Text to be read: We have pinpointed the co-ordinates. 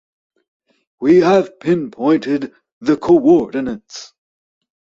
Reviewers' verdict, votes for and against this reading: accepted, 2, 0